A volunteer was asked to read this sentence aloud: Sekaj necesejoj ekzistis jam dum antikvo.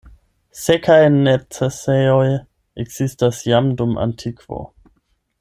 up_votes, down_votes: 0, 8